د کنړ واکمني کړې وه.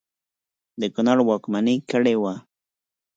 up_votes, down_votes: 4, 0